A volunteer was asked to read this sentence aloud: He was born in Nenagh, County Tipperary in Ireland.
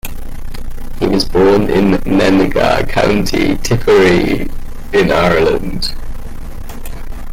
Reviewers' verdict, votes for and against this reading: rejected, 0, 2